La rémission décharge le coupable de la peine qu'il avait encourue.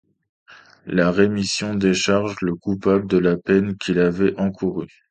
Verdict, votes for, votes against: accepted, 2, 0